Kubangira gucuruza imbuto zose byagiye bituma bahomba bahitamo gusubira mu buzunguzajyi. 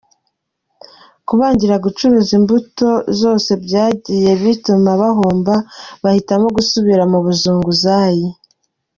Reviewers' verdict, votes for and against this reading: accepted, 2, 0